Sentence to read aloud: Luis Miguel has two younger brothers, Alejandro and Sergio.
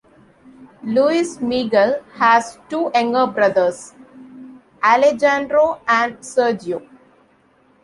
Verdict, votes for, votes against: rejected, 0, 2